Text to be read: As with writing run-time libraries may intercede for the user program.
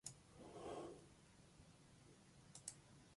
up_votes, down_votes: 0, 2